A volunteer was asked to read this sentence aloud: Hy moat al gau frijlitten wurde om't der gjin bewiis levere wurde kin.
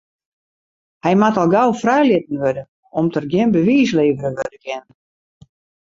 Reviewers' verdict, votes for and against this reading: rejected, 2, 2